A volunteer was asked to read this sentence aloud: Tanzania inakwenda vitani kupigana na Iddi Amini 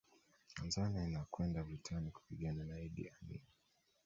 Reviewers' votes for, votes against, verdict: 1, 2, rejected